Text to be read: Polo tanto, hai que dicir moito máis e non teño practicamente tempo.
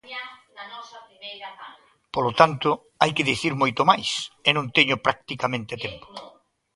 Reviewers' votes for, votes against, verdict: 2, 1, accepted